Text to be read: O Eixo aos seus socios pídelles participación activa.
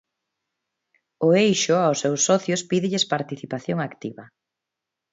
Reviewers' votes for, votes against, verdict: 2, 0, accepted